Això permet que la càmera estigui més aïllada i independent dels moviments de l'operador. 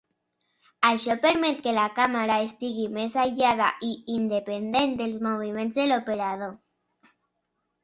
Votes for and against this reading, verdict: 3, 1, accepted